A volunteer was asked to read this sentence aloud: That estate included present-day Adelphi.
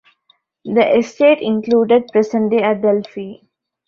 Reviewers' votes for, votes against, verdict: 1, 2, rejected